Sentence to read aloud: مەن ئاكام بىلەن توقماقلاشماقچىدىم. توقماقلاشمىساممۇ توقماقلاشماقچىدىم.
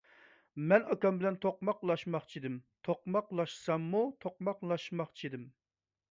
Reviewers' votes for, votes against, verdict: 1, 2, rejected